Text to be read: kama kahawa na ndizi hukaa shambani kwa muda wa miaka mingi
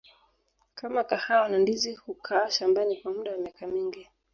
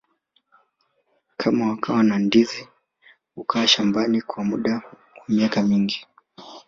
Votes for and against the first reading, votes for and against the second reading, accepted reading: 2, 0, 0, 2, first